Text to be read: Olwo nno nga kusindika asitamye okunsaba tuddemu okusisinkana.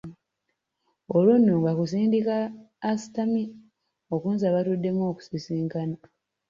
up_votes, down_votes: 1, 2